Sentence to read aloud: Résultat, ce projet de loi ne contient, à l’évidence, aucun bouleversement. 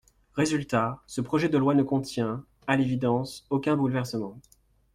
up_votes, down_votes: 2, 0